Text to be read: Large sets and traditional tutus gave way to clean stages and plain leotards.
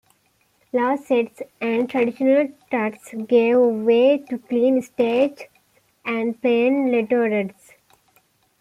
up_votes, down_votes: 1, 2